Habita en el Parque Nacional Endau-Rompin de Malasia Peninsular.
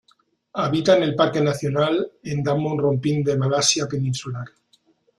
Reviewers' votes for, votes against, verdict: 0, 2, rejected